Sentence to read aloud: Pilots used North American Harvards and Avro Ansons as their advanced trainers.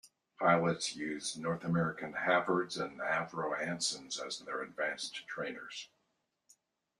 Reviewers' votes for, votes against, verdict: 1, 2, rejected